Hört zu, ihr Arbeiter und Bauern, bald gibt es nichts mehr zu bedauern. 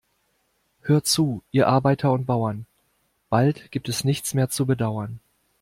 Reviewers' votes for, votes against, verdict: 2, 0, accepted